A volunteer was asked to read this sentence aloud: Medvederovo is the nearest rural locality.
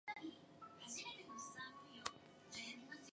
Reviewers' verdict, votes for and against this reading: rejected, 0, 2